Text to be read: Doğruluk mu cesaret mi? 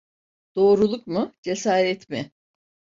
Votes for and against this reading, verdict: 2, 0, accepted